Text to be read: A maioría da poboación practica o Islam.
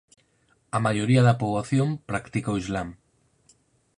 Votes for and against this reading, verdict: 4, 0, accepted